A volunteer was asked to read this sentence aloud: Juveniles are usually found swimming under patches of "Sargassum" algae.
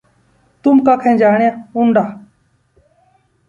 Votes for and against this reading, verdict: 0, 2, rejected